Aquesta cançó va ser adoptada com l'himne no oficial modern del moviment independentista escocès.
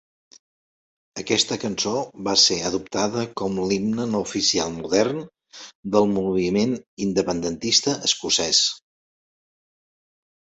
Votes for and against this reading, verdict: 2, 0, accepted